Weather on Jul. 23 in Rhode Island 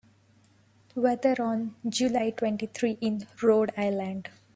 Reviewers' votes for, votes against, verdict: 0, 2, rejected